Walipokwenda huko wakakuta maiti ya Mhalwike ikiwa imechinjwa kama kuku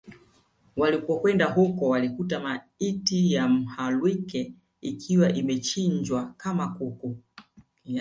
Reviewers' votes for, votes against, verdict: 1, 2, rejected